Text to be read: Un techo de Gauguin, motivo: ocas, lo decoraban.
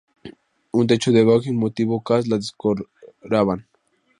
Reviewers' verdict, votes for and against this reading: rejected, 0, 2